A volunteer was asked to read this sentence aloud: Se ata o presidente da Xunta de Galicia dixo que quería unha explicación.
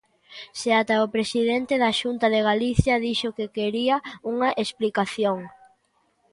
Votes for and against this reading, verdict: 2, 0, accepted